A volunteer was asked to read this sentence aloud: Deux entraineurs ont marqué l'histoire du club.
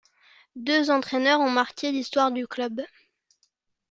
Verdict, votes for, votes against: accepted, 2, 0